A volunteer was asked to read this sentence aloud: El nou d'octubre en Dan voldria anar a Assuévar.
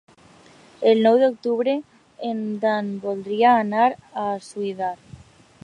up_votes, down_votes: 0, 2